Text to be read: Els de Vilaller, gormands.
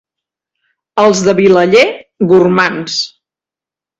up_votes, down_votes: 2, 0